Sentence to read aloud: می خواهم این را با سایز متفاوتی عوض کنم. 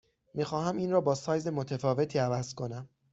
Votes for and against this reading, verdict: 6, 0, accepted